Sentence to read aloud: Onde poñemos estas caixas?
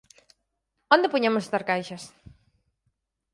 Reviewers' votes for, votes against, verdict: 4, 0, accepted